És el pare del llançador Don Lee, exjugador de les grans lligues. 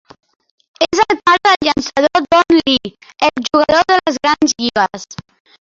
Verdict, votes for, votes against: rejected, 0, 6